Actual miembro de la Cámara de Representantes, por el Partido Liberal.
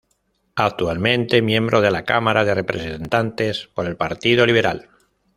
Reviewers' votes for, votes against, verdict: 0, 2, rejected